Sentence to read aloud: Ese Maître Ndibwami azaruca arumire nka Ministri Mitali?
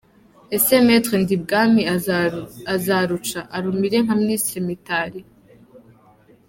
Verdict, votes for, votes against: rejected, 1, 2